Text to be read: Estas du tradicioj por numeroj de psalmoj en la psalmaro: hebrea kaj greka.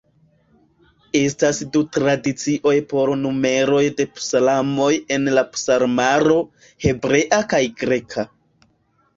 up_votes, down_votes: 1, 2